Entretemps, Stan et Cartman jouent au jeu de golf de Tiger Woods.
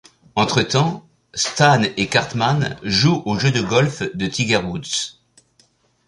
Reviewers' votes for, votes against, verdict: 2, 0, accepted